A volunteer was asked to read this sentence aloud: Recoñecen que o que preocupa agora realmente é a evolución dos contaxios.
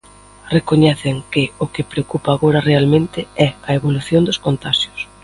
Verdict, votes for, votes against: accepted, 2, 0